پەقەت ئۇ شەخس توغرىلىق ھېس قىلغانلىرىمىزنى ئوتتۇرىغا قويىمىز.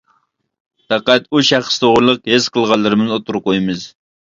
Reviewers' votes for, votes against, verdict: 0, 2, rejected